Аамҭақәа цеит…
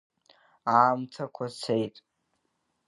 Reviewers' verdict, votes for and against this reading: accepted, 2, 0